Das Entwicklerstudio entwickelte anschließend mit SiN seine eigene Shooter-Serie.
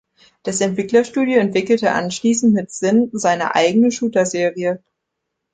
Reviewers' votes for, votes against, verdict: 3, 0, accepted